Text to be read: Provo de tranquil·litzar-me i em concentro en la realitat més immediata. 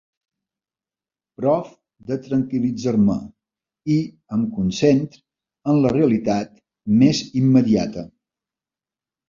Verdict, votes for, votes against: rejected, 0, 2